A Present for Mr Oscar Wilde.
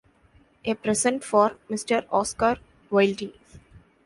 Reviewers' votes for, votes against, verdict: 0, 2, rejected